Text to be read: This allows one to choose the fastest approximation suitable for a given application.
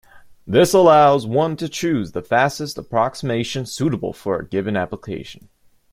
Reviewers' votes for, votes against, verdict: 2, 0, accepted